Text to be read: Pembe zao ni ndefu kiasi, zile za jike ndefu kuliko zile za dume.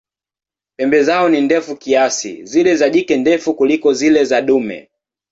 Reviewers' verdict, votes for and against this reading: rejected, 1, 2